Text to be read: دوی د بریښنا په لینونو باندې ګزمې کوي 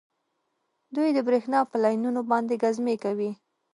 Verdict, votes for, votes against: accepted, 2, 1